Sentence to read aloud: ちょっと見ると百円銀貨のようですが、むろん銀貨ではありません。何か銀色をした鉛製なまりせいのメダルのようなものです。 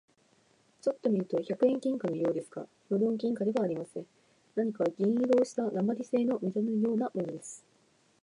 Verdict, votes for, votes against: rejected, 0, 2